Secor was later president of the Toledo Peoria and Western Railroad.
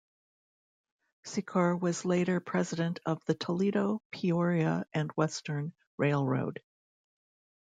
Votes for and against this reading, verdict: 2, 1, accepted